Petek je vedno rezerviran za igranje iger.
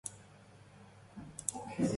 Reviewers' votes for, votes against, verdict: 0, 3, rejected